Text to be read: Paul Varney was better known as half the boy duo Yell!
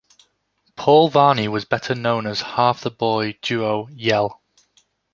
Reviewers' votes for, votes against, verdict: 2, 0, accepted